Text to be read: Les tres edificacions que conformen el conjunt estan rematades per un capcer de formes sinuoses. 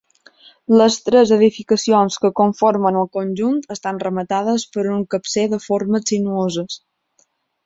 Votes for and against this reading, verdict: 2, 0, accepted